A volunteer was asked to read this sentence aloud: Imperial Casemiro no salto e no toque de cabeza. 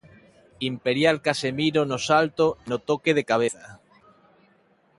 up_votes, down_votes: 1, 3